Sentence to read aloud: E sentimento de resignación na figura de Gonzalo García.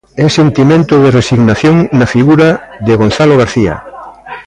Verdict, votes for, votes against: accepted, 2, 0